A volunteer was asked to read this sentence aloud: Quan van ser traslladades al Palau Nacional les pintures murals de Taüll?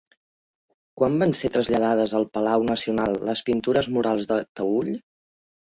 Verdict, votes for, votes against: accepted, 2, 0